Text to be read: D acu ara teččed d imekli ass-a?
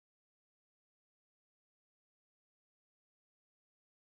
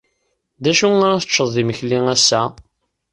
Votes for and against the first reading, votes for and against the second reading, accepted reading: 0, 2, 2, 0, second